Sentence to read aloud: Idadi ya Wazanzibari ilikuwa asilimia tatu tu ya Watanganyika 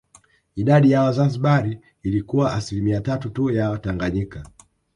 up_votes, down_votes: 6, 0